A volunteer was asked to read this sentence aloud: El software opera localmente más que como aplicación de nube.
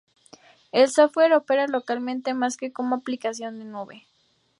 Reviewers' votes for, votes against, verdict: 4, 0, accepted